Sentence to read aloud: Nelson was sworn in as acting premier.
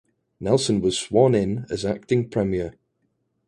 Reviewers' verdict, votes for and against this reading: accepted, 2, 0